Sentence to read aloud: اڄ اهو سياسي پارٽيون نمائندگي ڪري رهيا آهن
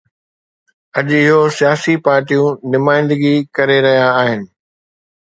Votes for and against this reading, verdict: 1, 2, rejected